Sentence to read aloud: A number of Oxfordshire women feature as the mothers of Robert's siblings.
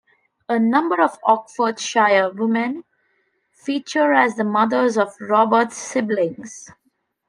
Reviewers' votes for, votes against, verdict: 3, 1, accepted